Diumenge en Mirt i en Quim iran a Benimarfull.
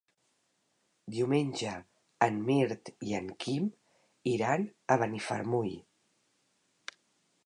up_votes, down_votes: 0, 3